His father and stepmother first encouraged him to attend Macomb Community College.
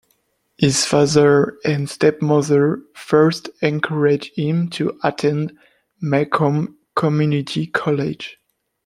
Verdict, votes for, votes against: rejected, 1, 2